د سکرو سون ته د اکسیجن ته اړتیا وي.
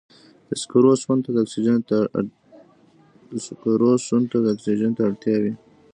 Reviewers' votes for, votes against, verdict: 1, 2, rejected